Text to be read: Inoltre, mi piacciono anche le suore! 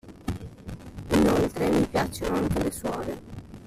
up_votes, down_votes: 0, 2